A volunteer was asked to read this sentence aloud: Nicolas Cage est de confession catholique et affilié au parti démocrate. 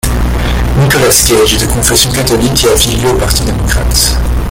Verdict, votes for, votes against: rejected, 1, 2